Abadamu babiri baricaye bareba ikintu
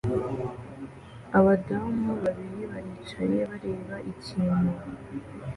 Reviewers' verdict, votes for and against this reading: accepted, 2, 0